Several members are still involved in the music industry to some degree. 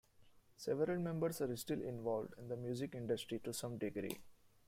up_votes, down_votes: 2, 0